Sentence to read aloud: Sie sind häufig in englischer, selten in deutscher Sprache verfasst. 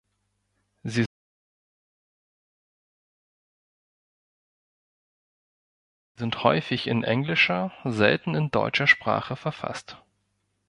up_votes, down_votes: 1, 2